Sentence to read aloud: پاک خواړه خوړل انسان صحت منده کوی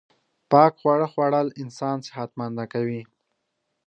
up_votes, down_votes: 2, 0